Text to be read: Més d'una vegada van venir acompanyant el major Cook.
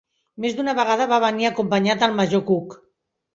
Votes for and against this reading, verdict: 0, 2, rejected